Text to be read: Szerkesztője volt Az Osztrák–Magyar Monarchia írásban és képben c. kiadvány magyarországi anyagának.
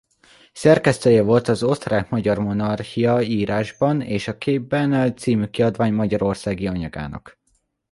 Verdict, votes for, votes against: rejected, 1, 2